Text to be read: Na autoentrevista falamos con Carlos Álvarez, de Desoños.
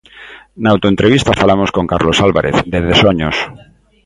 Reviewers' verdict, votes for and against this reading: accepted, 2, 0